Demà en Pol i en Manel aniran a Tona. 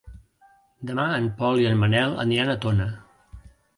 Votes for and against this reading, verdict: 2, 0, accepted